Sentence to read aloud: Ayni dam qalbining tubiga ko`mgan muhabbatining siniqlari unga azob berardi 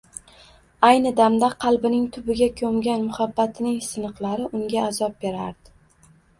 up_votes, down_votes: 1, 2